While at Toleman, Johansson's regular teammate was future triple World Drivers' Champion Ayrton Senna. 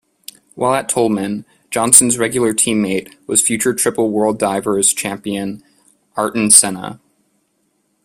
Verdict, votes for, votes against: rejected, 1, 2